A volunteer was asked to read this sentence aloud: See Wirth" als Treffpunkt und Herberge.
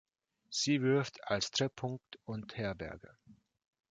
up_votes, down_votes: 0, 2